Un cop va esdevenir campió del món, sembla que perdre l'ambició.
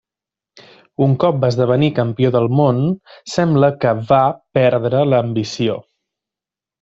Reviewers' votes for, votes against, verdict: 1, 5, rejected